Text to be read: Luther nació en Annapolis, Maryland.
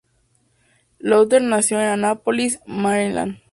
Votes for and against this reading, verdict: 2, 0, accepted